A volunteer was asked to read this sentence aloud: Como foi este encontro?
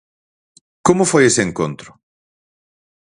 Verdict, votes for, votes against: rejected, 0, 4